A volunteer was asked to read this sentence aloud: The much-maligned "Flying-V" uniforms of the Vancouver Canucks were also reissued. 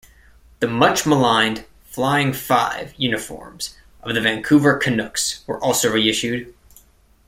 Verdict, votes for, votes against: rejected, 1, 2